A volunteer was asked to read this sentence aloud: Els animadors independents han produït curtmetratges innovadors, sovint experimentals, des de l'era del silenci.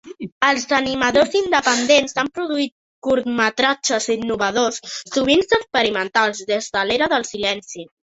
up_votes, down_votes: 4, 1